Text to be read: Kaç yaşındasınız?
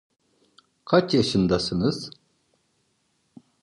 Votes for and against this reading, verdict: 2, 0, accepted